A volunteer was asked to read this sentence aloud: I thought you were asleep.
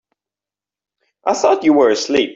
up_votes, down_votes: 2, 1